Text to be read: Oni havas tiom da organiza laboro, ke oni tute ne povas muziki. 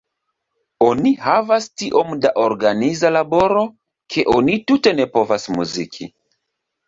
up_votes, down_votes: 2, 1